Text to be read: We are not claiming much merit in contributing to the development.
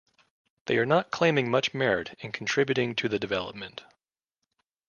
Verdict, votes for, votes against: accepted, 2, 0